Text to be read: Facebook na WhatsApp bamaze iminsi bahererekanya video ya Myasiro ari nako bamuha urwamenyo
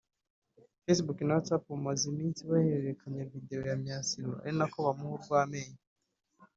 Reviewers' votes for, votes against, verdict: 0, 2, rejected